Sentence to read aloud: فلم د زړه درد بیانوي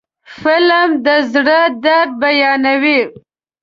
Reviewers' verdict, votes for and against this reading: accepted, 2, 0